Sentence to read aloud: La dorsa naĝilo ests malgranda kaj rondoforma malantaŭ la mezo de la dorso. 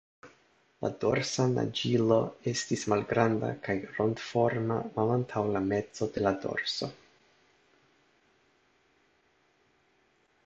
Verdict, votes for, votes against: accepted, 2, 1